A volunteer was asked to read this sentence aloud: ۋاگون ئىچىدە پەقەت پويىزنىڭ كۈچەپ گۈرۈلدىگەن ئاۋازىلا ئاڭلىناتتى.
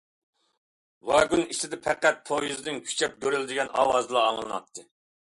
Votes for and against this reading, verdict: 2, 1, accepted